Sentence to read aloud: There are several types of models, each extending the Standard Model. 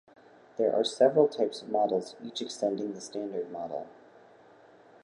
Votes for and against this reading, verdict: 2, 0, accepted